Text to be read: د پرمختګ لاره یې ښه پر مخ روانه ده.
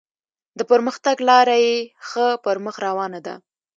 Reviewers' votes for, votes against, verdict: 2, 0, accepted